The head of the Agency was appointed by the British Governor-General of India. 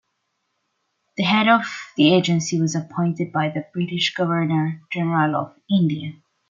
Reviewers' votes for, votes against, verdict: 1, 2, rejected